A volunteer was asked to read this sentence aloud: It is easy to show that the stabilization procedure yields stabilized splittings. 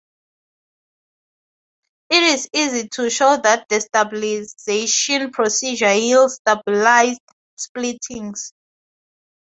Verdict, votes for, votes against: rejected, 0, 2